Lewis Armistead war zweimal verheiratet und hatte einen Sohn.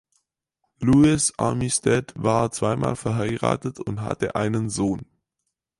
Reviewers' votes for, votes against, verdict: 4, 0, accepted